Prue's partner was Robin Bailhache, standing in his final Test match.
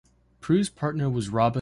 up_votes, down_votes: 0, 2